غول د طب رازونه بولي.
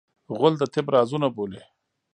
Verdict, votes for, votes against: rejected, 1, 2